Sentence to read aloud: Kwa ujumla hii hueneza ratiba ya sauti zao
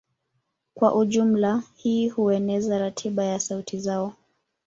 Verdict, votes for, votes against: accepted, 2, 1